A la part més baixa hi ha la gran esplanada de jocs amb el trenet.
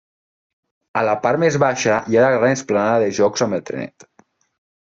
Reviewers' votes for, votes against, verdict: 3, 0, accepted